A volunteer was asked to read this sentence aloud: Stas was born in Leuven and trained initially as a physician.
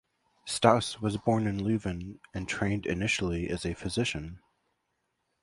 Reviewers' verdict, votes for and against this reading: accepted, 2, 1